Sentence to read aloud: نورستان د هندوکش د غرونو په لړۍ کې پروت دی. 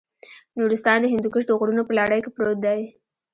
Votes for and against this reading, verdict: 1, 2, rejected